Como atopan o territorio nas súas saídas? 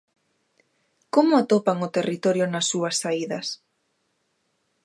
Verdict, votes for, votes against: accepted, 2, 0